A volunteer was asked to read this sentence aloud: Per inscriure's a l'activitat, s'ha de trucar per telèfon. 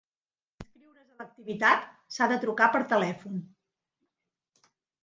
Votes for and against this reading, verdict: 1, 2, rejected